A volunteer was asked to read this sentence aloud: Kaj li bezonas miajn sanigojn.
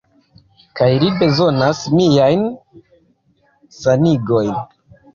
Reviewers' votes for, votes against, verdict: 2, 1, accepted